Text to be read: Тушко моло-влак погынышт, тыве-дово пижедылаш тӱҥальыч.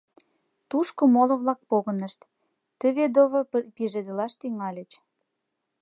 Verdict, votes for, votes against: rejected, 1, 2